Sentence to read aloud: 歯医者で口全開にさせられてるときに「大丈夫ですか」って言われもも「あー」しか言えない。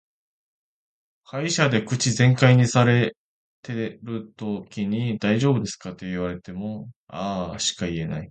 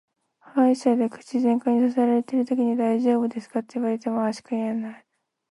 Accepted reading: second